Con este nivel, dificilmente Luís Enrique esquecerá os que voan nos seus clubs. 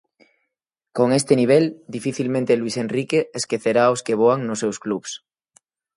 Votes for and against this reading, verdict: 4, 0, accepted